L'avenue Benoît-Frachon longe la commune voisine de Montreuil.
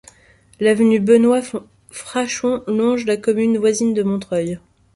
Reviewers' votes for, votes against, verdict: 0, 2, rejected